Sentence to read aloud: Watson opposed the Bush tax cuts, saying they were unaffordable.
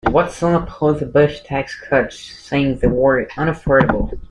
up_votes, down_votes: 2, 0